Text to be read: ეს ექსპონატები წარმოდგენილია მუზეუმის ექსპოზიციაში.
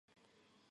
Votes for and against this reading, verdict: 2, 1, accepted